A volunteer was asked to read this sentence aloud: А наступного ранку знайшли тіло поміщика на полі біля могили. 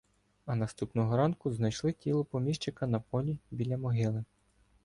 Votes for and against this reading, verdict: 2, 0, accepted